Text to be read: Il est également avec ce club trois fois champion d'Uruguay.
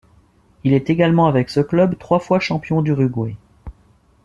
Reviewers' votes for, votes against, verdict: 2, 0, accepted